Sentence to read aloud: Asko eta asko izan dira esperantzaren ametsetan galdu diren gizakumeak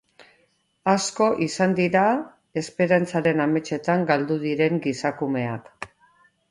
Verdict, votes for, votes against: rejected, 0, 2